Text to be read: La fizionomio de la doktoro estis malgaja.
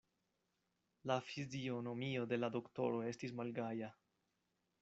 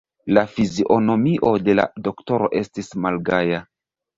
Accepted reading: first